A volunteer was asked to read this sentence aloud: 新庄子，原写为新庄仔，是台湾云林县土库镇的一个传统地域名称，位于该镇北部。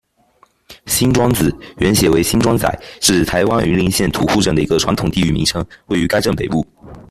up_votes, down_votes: 2, 0